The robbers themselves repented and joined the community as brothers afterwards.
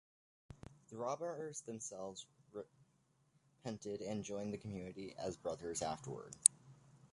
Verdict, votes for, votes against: rejected, 1, 2